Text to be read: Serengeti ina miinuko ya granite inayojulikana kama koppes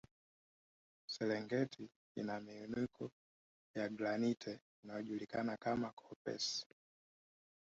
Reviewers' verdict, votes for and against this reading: rejected, 1, 3